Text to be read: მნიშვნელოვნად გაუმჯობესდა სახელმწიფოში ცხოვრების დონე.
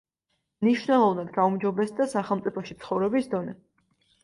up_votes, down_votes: 2, 0